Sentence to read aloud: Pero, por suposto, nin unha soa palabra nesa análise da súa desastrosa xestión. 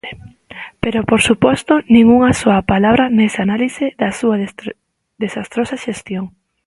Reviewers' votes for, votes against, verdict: 1, 2, rejected